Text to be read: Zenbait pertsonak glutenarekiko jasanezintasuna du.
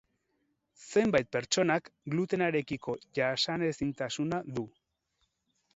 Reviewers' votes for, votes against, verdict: 6, 10, rejected